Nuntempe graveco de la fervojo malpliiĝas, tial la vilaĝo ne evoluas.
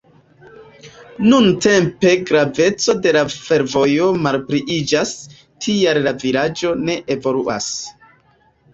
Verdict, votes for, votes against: rejected, 1, 2